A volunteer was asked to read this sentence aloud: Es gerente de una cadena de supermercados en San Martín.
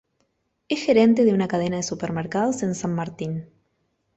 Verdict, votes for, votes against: accepted, 2, 0